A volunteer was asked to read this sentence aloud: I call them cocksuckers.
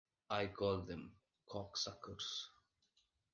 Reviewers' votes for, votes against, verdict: 1, 2, rejected